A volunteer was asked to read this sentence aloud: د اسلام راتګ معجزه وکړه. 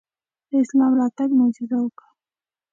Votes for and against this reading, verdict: 2, 0, accepted